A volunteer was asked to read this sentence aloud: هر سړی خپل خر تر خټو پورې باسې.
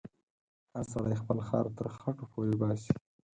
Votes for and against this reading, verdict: 4, 2, accepted